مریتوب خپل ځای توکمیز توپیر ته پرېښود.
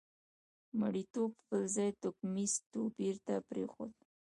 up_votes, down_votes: 1, 2